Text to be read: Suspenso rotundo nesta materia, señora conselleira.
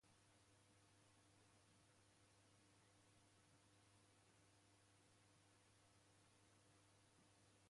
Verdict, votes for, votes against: rejected, 0, 2